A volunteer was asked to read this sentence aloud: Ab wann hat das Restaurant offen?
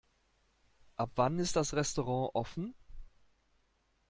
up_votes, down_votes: 0, 2